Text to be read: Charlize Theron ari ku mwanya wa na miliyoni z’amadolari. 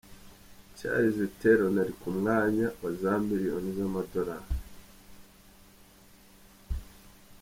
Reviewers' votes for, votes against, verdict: 2, 0, accepted